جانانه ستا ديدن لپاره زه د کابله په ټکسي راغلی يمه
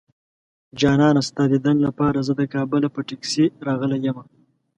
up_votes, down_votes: 2, 0